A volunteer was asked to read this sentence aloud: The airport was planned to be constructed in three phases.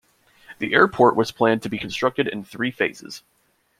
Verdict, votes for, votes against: accepted, 2, 0